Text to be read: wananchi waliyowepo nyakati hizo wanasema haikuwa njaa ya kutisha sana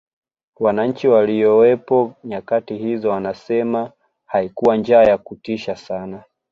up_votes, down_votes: 2, 0